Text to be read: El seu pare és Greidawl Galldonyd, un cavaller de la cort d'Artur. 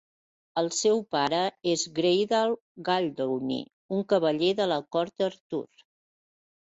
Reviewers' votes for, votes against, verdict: 0, 2, rejected